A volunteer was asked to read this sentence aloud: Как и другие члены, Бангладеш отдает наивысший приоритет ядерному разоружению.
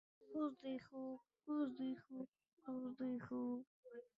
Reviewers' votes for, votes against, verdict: 0, 2, rejected